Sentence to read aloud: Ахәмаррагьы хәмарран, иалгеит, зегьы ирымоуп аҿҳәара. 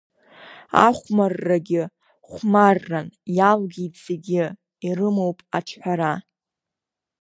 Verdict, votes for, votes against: accepted, 2, 0